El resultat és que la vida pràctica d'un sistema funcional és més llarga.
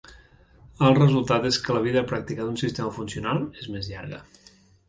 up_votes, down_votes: 2, 0